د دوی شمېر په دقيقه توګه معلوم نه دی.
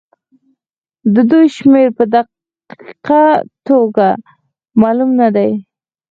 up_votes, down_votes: 4, 2